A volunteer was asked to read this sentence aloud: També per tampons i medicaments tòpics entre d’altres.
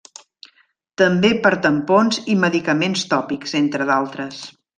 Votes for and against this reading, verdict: 3, 0, accepted